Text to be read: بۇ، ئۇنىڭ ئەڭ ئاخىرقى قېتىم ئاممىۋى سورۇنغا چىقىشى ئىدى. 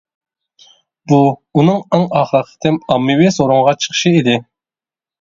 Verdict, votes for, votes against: rejected, 0, 2